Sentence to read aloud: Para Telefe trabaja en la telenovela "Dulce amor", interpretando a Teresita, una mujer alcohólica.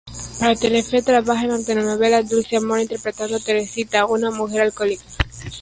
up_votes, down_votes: 0, 2